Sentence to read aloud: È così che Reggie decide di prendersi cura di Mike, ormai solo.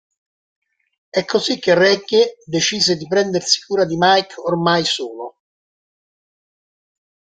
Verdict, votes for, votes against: rejected, 1, 2